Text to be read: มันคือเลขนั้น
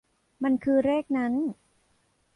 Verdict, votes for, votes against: rejected, 1, 2